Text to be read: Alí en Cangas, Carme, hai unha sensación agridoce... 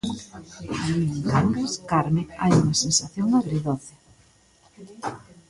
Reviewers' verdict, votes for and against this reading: rejected, 1, 2